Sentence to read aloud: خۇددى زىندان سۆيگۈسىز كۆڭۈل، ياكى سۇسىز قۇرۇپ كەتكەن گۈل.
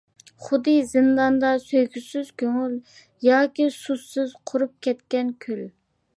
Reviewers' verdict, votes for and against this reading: accepted, 2, 1